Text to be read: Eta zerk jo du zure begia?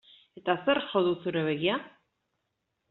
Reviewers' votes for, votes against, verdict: 2, 0, accepted